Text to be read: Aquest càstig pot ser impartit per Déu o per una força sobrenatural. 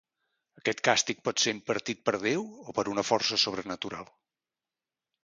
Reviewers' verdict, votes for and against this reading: accepted, 2, 0